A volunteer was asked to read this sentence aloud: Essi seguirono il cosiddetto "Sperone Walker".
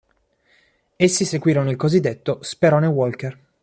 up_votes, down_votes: 3, 0